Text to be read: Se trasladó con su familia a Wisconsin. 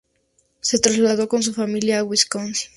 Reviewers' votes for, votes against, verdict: 4, 0, accepted